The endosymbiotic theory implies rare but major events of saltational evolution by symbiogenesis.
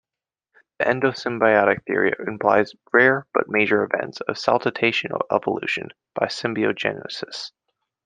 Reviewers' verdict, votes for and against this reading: rejected, 0, 2